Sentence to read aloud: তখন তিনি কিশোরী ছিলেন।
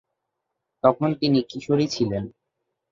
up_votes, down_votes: 2, 0